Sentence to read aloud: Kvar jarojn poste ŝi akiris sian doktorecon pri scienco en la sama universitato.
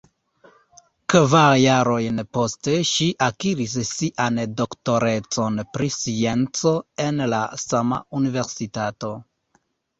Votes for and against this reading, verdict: 2, 0, accepted